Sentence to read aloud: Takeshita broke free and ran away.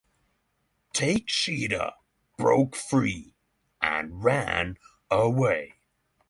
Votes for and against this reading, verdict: 3, 3, rejected